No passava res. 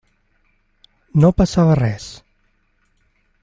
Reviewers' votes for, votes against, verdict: 3, 0, accepted